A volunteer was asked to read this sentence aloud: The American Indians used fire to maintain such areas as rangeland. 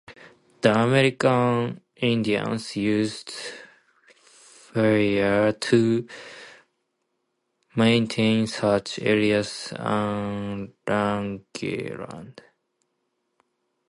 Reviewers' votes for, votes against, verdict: 0, 2, rejected